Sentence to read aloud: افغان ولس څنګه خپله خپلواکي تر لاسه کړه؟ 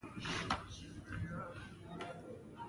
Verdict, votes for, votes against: rejected, 0, 2